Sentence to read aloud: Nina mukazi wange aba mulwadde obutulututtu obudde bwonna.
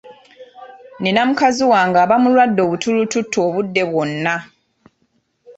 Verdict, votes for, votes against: accepted, 2, 0